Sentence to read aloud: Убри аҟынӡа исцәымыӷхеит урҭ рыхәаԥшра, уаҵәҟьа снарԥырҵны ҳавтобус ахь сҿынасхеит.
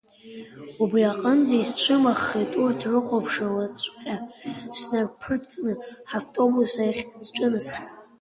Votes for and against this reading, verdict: 0, 2, rejected